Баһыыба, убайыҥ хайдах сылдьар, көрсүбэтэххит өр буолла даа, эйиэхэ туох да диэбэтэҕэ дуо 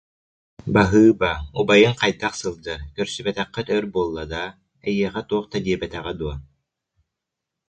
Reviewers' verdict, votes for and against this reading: accepted, 2, 0